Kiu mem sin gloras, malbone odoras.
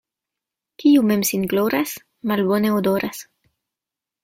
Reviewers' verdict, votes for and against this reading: accepted, 2, 0